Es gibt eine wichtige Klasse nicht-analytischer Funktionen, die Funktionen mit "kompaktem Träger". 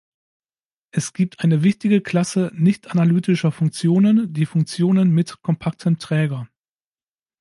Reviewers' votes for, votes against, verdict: 2, 0, accepted